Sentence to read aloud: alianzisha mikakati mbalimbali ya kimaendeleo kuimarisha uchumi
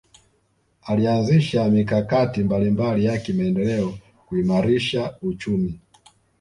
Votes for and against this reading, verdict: 2, 0, accepted